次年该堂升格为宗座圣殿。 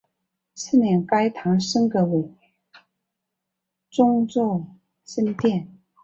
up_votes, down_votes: 2, 1